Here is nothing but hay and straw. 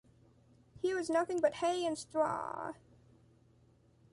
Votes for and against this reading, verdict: 2, 0, accepted